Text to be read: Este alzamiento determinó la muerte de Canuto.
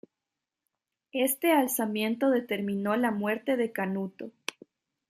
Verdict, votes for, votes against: accepted, 2, 0